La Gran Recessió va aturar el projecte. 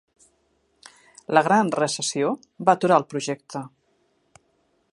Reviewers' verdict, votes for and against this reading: accepted, 3, 0